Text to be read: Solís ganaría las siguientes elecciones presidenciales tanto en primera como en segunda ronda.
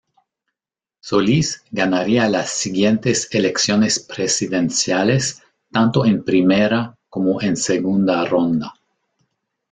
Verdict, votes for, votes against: rejected, 0, 2